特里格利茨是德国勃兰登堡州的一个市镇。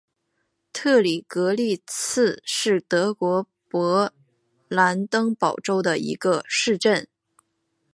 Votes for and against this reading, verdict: 4, 1, accepted